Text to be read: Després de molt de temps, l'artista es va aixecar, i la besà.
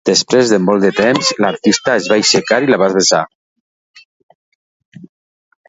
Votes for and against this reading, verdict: 0, 2, rejected